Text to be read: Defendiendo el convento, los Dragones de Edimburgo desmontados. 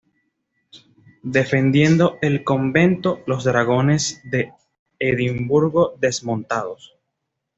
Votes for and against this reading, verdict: 2, 0, accepted